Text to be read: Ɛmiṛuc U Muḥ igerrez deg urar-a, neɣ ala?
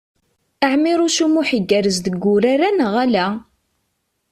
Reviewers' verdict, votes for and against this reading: accepted, 2, 0